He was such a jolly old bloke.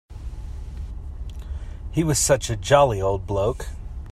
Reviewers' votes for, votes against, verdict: 2, 0, accepted